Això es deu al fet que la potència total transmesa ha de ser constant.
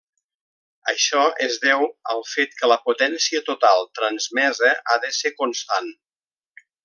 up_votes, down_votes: 3, 0